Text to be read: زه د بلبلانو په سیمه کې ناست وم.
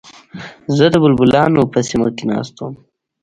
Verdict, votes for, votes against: accepted, 2, 0